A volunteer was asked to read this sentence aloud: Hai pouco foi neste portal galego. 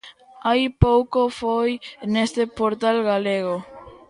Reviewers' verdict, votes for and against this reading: accepted, 2, 0